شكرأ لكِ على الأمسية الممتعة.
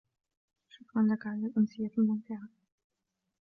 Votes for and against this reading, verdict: 2, 3, rejected